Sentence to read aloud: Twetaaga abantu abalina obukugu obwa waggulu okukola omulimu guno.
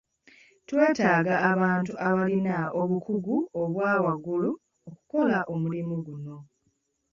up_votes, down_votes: 2, 1